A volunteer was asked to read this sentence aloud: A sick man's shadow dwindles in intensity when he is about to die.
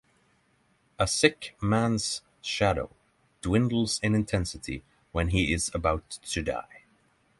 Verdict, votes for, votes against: accepted, 3, 0